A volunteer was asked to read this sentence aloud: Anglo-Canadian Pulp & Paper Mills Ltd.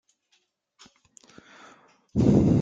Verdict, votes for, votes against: rejected, 0, 2